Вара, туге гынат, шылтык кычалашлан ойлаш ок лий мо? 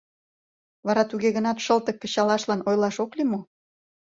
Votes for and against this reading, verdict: 2, 0, accepted